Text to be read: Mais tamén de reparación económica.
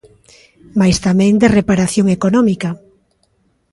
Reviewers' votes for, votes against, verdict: 2, 0, accepted